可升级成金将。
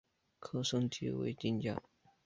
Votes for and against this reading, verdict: 4, 0, accepted